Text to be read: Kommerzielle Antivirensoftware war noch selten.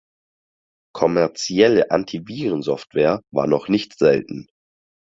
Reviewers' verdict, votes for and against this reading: rejected, 0, 4